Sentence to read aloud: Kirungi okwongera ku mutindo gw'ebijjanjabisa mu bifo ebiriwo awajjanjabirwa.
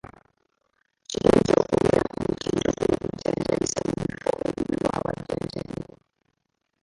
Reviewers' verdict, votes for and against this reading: rejected, 0, 3